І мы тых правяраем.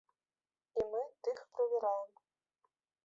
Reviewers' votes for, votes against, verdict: 0, 2, rejected